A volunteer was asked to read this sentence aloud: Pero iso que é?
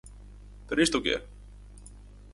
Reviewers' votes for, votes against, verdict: 2, 4, rejected